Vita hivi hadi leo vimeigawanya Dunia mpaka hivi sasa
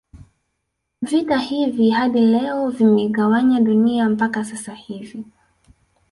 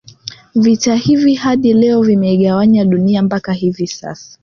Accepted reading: second